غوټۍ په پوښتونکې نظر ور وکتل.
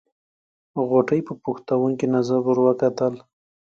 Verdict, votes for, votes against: accepted, 2, 0